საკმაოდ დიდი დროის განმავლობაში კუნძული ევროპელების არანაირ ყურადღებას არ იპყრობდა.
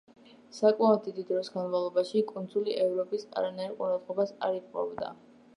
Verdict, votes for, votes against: rejected, 0, 2